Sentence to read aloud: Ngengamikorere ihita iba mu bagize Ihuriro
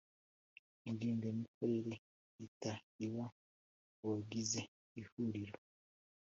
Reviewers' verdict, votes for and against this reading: accepted, 2, 0